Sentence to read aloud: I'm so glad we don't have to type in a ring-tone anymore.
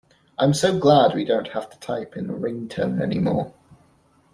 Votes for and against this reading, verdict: 2, 0, accepted